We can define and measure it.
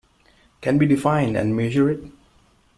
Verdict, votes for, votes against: rejected, 0, 2